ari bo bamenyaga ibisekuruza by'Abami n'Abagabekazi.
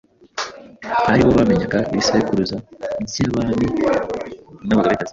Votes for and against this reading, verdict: 2, 0, accepted